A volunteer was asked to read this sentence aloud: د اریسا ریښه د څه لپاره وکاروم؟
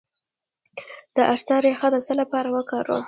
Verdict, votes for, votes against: rejected, 0, 2